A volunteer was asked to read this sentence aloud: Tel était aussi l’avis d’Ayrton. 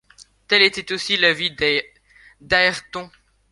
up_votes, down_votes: 0, 2